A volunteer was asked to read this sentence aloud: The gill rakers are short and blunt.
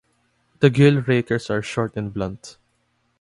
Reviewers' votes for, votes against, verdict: 2, 0, accepted